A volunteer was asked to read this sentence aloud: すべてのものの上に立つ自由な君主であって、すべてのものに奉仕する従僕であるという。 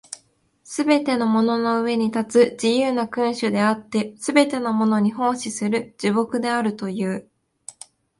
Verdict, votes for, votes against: accepted, 2, 0